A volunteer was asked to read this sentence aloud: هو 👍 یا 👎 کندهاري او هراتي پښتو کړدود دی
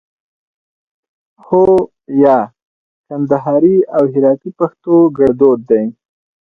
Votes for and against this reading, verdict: 4, 0, accepted